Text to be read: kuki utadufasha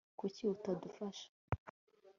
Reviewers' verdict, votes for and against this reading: accepted, 2, 0